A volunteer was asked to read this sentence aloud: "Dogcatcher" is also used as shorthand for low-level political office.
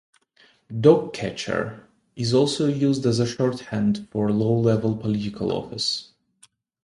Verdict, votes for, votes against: rejected, 1, 2